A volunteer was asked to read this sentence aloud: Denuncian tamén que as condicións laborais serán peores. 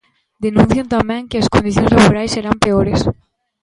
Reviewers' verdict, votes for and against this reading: accepted, 2, 1